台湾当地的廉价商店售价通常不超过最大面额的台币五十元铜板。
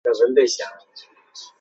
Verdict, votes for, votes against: rejected, 0, 3